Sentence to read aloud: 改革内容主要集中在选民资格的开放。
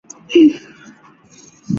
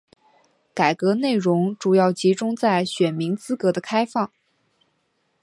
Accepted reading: second